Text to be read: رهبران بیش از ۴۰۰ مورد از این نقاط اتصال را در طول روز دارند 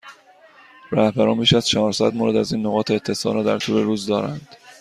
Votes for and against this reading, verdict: 0, 2, rejected